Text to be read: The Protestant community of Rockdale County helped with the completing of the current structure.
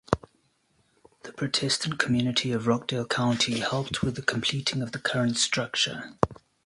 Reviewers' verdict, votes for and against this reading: accepted, 2, 0